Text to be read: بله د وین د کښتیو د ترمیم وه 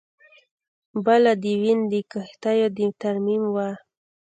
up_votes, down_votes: 2, 0